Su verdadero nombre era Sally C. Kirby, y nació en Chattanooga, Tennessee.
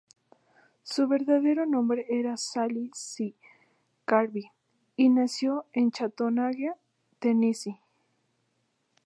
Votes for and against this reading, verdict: 0, 2, rejected